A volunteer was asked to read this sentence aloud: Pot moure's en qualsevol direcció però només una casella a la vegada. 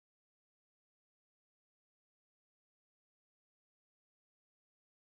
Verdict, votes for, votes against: rejected, 1, 2